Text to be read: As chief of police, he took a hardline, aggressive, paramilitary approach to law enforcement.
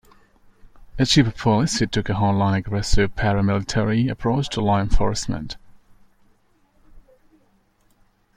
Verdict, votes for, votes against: accepted, 2, 0